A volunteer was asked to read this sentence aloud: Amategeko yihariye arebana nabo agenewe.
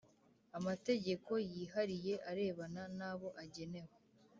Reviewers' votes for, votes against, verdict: 3, 0, accepted